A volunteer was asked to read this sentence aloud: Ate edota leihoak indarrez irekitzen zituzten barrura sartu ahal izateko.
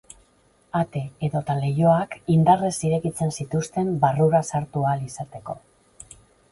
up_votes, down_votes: 4, 0